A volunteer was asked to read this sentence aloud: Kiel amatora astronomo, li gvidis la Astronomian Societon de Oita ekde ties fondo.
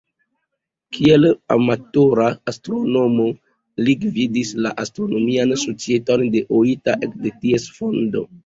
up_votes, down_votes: 2, 0